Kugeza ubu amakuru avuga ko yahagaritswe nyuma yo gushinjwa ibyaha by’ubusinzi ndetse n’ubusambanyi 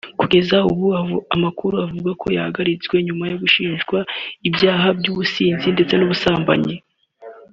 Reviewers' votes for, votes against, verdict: 3, 0, accepted